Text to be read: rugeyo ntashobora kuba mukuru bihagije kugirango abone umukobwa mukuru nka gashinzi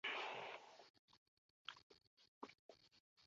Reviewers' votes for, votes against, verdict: 0, 2, rejected